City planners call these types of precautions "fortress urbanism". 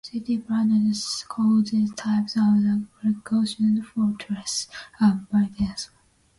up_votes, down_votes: 0, 2